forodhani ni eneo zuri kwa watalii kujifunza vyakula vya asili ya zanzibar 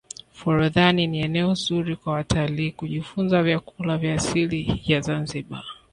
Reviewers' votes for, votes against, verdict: 2, 0, accepted